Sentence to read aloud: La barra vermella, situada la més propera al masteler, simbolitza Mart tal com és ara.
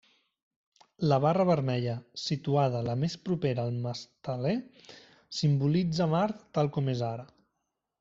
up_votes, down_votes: 2, 0